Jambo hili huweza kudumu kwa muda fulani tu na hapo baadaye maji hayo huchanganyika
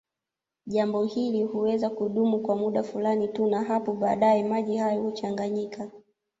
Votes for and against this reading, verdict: 2, 0, accepted